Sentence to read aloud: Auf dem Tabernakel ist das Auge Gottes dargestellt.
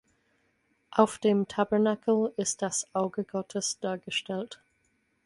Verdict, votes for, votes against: accepted, 4, 0